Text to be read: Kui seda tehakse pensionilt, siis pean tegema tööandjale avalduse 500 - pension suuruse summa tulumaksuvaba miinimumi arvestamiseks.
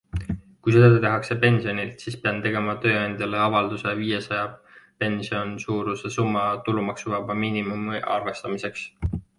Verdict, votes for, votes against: rejected, 0, 2